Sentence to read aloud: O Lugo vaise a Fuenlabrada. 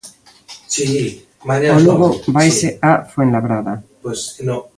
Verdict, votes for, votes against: rejected, 0, 2